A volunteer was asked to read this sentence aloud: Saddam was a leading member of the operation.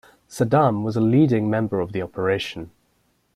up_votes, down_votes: 2, 0